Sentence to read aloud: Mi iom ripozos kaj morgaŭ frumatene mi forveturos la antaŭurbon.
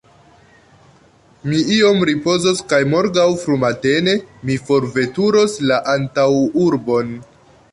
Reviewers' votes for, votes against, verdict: 3, 0, accepted